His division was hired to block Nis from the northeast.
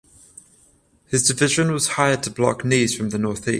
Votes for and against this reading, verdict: 0, 7, rejected